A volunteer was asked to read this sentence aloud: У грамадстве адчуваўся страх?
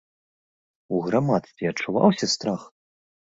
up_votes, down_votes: 2, 0